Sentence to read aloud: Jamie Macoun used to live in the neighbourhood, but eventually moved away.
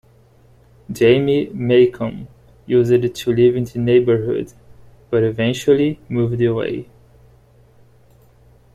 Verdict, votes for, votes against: rejected, 1, 2